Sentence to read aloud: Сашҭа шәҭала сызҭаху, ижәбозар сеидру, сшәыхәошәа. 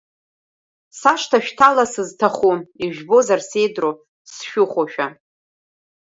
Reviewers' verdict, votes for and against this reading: rejected, 1, 2